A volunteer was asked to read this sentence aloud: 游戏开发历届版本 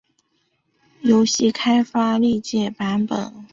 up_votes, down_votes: 2, 0